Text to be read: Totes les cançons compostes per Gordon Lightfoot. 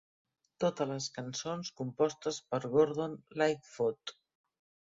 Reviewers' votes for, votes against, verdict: 0, 2, rejected